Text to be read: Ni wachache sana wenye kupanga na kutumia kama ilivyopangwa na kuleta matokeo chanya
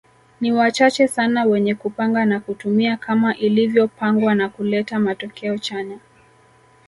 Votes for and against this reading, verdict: 2, 0, accepted